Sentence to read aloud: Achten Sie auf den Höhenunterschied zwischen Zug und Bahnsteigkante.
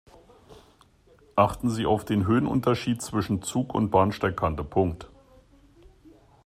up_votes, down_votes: 1, 2